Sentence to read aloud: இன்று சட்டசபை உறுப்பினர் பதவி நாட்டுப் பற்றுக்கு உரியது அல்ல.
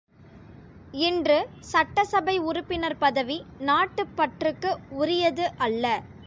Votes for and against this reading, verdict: 2, 0, accepted